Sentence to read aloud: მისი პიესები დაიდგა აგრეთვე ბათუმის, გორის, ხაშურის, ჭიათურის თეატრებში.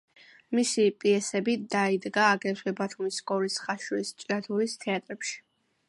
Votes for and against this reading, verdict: 2, 0, accepted